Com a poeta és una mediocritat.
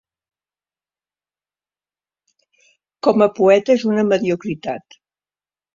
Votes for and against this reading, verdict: 1, 2, rejected